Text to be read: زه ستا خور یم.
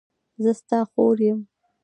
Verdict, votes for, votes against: accepted, 2, 0